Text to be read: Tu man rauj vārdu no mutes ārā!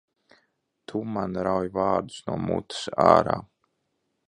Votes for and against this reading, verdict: 0, 2, rejected